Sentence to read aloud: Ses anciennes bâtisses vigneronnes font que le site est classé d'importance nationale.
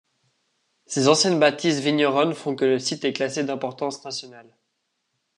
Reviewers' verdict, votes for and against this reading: accepted, 2, 0